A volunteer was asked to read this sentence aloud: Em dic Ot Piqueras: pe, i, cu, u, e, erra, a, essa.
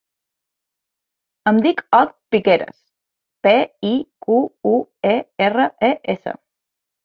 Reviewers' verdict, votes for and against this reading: rejected, 0, 2